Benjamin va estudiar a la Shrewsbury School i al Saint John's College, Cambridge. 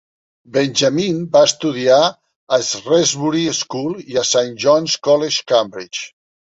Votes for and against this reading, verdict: 0, 2, rejected